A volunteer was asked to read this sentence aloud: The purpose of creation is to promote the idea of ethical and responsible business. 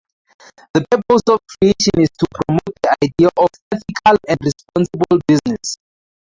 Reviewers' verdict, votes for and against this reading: rejected, 0, 2